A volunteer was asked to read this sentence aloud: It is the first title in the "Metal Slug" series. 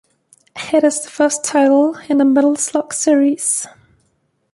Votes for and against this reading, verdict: 1, 2, rejected